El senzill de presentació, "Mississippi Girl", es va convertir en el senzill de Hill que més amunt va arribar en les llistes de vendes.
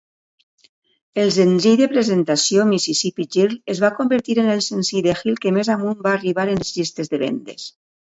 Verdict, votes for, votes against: rejected, 1, 2